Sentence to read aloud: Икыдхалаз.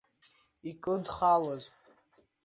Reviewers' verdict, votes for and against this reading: rejected, 1, 2